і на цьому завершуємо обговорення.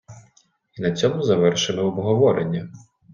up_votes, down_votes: 1, 2